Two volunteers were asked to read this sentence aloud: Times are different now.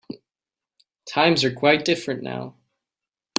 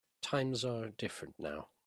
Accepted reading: second